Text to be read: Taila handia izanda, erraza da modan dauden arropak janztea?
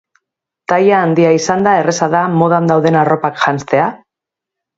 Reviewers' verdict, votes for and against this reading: accepted, 2, 1